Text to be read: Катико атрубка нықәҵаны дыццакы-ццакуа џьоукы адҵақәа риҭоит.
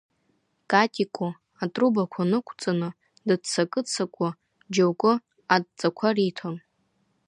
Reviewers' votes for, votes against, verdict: 2, 1, accepted